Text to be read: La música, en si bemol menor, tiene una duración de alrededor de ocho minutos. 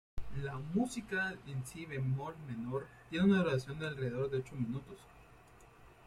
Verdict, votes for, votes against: rejected, 0, 2